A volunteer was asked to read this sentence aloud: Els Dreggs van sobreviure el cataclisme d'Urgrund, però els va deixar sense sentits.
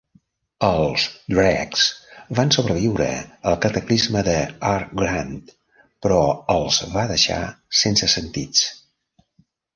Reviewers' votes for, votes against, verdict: 1, 2, rejected